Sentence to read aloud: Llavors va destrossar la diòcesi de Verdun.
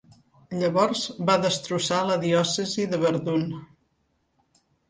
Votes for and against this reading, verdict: 2, 0, accepted